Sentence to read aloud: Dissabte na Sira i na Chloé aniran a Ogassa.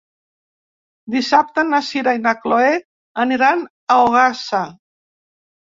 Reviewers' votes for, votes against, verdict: 3, 0, accepted